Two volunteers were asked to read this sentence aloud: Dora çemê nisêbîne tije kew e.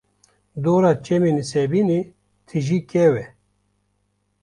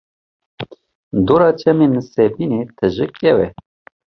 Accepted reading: second